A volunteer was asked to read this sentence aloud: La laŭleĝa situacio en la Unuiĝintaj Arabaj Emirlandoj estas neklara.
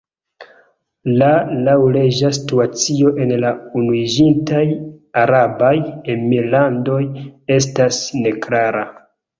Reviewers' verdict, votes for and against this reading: accepted, 2, 1